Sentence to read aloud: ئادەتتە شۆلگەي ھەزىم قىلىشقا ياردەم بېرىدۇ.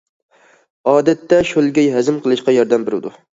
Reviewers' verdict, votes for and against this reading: accepted, 2, 0